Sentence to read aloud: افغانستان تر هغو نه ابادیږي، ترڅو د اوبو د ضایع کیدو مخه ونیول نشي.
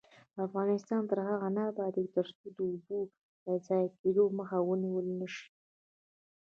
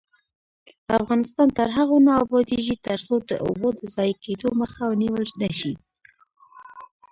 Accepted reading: first